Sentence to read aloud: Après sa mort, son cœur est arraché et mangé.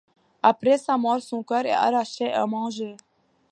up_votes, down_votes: 2, 0